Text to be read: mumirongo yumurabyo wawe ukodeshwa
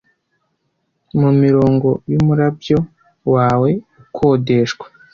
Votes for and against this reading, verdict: 2, 1, accepted